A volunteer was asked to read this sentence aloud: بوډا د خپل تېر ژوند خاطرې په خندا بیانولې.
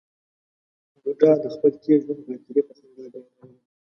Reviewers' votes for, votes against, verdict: 0, 2, rejected